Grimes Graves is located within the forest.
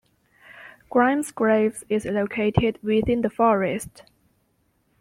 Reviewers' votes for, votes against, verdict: 3, 0, accepted